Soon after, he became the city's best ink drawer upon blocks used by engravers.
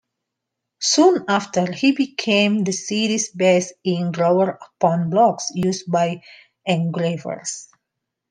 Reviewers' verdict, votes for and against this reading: rejected, 0, 2